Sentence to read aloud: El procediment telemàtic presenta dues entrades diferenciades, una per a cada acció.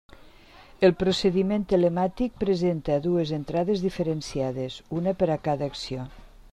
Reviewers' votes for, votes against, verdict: 3, 0, accepted